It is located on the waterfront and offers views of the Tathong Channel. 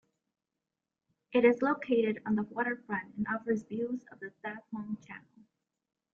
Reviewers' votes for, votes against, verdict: 2, 0, accepted